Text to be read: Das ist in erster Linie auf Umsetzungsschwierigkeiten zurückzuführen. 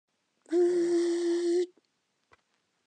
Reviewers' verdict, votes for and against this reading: rejected, 0, 2